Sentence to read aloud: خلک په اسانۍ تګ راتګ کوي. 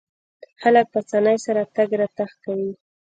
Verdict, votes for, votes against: rejected, 1, 2